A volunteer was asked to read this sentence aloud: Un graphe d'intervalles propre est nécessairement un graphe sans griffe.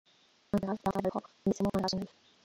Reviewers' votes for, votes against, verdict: 0, 2, rejected